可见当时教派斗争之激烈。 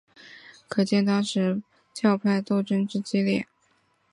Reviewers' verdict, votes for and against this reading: accepted, 2, 0